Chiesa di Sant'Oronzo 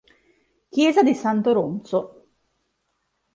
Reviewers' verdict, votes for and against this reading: accepted, 2, 0